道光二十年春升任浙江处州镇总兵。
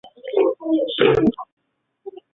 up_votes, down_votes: 0, 3